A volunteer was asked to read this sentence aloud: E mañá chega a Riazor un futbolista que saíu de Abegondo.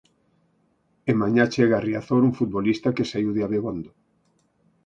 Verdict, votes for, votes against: accepted, 4, 0